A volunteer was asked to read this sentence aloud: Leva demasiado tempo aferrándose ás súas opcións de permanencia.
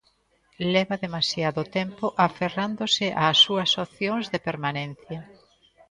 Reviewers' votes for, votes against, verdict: 2, 0, accepted